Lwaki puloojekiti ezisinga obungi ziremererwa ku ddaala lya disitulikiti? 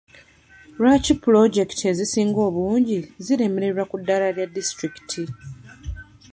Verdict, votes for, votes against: accepted, 2, 0